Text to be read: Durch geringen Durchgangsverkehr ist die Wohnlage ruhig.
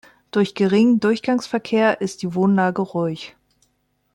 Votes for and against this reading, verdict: 3, 0, accepted